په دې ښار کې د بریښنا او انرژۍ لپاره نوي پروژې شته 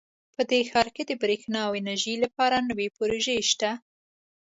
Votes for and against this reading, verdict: 3, 0, accepted